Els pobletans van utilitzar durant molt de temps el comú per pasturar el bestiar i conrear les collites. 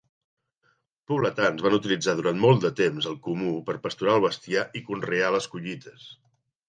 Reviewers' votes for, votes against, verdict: 1, 2, rejected